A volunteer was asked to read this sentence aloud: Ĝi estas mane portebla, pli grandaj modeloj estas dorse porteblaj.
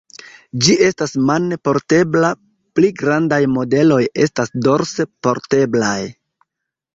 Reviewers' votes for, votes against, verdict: 2, 1, accepted